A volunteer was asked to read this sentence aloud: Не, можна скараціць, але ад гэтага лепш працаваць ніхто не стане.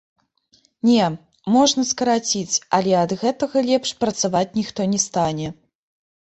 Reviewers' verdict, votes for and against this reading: accepted, 2, 1